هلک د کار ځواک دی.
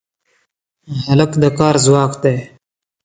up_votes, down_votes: 2, 0